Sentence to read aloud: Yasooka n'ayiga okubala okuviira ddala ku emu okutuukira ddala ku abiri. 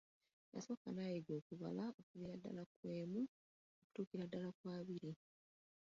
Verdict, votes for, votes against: rejected, 0, 2